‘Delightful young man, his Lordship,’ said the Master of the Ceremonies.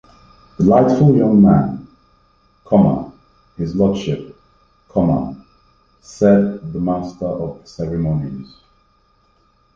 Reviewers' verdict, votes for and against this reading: rejected, 1, 2